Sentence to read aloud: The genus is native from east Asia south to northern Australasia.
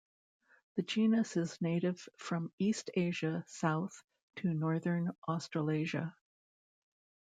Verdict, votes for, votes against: accepted, 2, 0